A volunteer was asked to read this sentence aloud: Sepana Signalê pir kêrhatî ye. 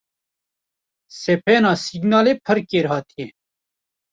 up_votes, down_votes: 1, 2